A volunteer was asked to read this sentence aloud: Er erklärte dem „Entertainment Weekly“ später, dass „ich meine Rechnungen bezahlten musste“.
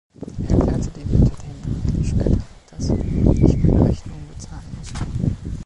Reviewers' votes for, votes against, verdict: 0, 2, rejected